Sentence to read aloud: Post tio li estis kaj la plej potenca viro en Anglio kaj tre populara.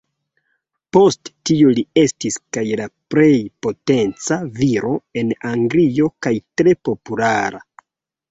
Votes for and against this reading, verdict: 2, 0, accepted